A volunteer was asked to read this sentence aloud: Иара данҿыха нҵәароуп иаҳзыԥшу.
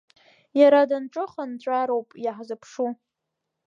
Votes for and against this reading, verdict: 1, 2, rejected